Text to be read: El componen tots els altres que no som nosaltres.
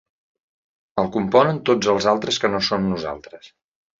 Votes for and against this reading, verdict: 2, 0, accepted